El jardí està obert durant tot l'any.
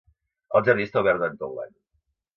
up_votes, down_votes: 2, 0